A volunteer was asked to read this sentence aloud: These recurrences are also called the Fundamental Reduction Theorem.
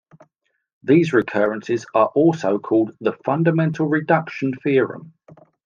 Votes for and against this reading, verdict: 2, 0, accepted